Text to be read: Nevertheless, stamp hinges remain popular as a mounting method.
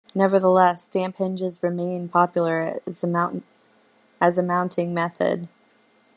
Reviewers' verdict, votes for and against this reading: rejected, 1, 2